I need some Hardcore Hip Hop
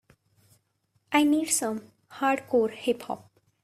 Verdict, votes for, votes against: rejected, 1, 2